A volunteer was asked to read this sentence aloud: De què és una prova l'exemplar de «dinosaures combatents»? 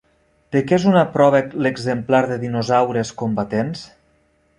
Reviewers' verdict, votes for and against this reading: rejected, 0, 2